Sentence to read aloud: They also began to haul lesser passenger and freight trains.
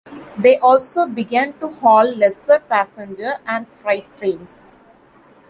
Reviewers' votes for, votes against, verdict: 2, 1, accepted